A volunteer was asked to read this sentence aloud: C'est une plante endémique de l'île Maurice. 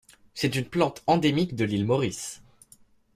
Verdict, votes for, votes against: accepted, 2, 0